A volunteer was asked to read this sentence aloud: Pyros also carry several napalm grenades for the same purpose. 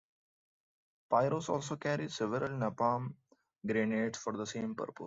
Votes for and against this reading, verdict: 0, 2, rejected